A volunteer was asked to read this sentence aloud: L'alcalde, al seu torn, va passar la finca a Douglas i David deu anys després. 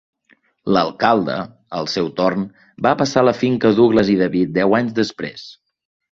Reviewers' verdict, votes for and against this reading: accepted, 3, 0